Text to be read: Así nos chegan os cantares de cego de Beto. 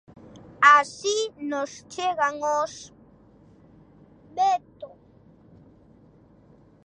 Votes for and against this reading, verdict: 0, 2, rejected